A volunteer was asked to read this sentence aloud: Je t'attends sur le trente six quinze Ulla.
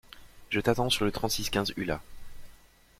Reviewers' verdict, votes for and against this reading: accepted, 2, 0